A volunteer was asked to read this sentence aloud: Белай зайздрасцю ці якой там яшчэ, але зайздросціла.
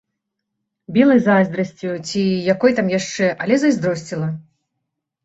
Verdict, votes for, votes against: rejected, 1, 2